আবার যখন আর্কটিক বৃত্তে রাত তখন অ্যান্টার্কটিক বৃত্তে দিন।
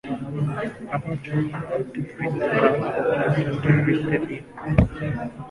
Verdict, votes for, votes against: rejected, 1, 10